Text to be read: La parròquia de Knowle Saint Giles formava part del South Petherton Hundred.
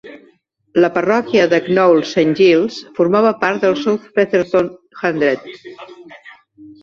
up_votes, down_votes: 0, 2